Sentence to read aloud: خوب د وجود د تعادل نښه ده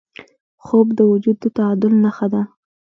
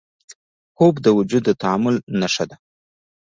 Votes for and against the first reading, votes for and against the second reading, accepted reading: 1, 2, 2, 1, second